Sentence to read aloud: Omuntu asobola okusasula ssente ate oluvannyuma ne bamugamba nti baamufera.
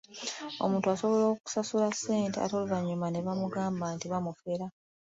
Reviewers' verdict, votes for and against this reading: accepted, 2, 0